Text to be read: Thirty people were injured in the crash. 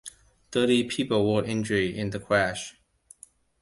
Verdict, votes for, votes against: accepted, 2, 1